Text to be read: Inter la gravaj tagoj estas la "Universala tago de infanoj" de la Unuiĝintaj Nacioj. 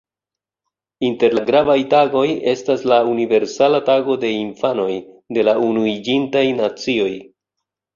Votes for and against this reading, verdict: 2, 0, accepted